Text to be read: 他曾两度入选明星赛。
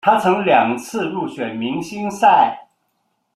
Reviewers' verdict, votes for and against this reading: rejected, 1, 2